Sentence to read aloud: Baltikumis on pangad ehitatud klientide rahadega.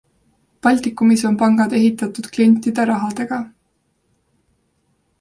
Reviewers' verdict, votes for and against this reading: accepted, 2, 0